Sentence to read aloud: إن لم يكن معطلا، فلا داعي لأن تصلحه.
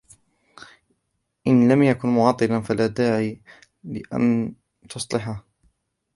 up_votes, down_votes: 0, 2